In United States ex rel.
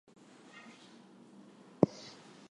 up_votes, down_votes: 0, 2